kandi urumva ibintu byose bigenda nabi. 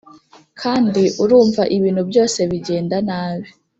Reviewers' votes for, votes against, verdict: 2, 0, accepted